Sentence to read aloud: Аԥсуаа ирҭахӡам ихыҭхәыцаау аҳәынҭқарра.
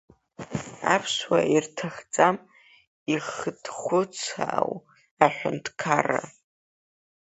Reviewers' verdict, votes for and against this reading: rejected, 0, 2